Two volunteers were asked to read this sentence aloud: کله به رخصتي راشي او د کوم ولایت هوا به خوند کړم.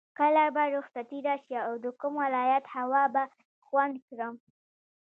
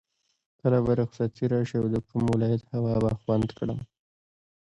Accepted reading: second